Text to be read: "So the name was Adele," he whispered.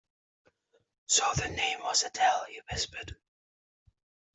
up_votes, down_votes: 2, 0